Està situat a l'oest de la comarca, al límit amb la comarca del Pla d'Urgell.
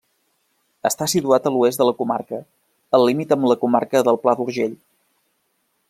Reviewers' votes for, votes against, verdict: 3, 0, accepted